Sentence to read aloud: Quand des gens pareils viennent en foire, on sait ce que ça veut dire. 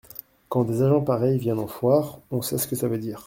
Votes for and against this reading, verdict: 0, 2, rejected